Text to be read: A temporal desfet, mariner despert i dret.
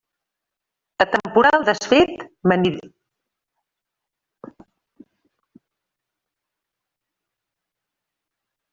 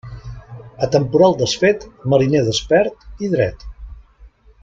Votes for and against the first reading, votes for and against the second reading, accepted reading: 0, 2, 2, 0, second